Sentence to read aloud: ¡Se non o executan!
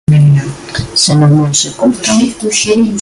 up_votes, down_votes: 0, 2